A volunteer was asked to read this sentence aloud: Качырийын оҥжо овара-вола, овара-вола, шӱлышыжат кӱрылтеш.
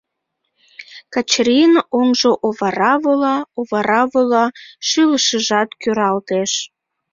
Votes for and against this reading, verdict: 0, 2, rejected